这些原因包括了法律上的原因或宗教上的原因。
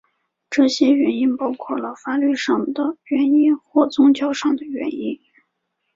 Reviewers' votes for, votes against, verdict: 2, 0, accepted